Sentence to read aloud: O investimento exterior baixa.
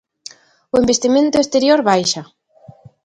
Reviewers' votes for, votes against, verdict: 2, 0, accepted